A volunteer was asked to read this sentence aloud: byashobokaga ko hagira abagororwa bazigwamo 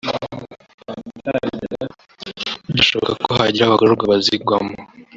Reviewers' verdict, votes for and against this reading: rejected, 0, 2